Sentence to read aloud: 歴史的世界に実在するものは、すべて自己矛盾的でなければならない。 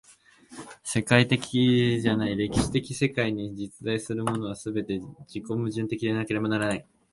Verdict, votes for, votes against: rejected, 0, 2